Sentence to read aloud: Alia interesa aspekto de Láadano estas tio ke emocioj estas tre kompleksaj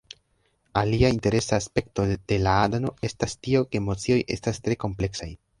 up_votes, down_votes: 2, 1